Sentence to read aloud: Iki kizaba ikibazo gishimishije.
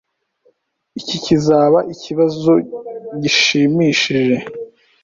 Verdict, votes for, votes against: accepted, 3, 0